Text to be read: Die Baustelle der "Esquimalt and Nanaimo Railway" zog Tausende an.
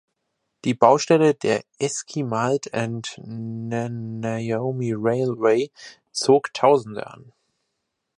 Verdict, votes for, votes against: rejected, 0, 2